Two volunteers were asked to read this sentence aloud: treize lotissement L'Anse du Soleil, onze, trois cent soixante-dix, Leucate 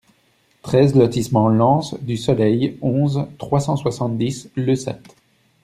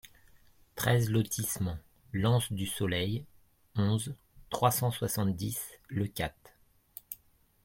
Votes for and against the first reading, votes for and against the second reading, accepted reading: 1, 2, 2, 0, second